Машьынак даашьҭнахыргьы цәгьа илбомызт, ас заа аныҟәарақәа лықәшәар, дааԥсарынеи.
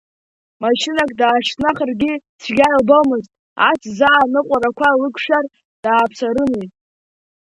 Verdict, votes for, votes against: rejected, 0, 2